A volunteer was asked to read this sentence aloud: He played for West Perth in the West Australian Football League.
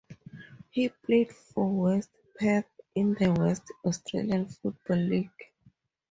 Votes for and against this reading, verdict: 4, 0, accepted